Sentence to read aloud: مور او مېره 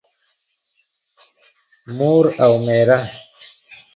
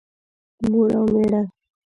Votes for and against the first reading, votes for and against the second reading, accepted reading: 2, 0, 0, 2, first